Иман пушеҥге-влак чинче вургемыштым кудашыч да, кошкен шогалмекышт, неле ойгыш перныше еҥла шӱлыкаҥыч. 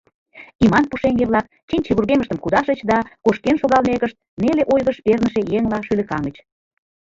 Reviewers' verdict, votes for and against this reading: accepted, 2, 0